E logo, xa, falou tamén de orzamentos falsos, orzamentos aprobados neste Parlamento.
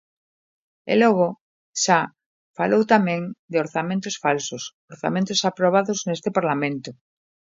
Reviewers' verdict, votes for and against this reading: accepted, 2, 0